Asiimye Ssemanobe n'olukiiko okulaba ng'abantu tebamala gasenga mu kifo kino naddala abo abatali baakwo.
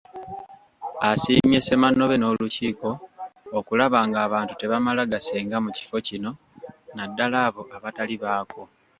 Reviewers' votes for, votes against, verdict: 1, 2, rejected